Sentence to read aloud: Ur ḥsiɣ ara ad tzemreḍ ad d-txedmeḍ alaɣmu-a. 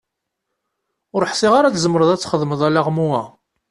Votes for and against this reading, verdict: 2, 0, accepted